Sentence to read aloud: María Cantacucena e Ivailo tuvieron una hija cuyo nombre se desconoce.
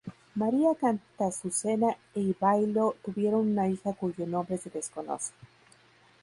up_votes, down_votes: 0, 2